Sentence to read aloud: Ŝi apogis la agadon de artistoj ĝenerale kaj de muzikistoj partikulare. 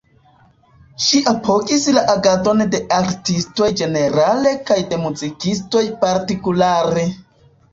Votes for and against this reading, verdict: 2, 0, accepted